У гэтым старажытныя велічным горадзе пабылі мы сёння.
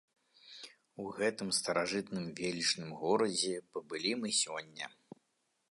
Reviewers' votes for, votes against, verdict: 0, 2, rejected